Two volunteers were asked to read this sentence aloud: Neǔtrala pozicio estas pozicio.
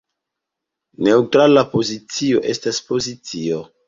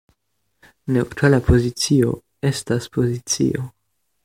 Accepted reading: first